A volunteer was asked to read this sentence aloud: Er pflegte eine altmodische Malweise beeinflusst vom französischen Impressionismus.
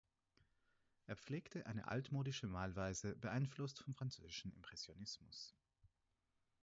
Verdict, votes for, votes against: rejected, 4, 6